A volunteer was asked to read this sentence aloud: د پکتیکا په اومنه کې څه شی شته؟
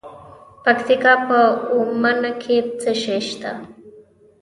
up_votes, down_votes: 2, 0